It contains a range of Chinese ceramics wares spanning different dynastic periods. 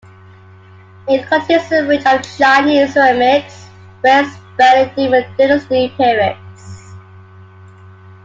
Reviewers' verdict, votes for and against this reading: rejected, 0, 2